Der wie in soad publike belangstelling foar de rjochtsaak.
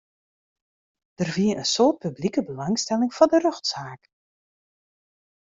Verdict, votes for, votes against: accepted, 2, 0